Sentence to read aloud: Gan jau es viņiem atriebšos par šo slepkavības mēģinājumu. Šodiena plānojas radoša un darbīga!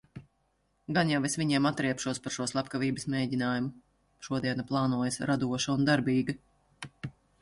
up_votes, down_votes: 2, 0